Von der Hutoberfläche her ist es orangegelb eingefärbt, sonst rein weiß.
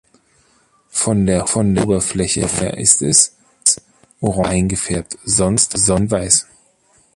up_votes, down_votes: 0, 2